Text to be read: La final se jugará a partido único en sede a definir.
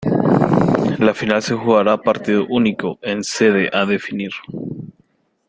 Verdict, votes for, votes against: rejected, 1, 2